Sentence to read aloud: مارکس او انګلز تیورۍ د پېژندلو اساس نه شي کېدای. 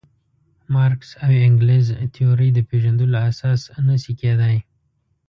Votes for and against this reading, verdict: 1, 2, rejected